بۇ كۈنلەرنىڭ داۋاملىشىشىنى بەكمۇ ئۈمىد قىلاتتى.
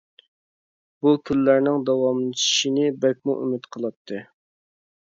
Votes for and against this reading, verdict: 2, 0, accepted